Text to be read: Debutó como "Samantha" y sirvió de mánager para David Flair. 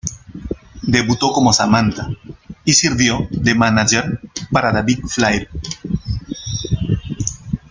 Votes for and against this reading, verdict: 1, 2, rejected